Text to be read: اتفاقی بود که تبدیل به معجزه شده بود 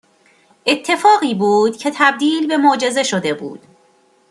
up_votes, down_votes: 2, 0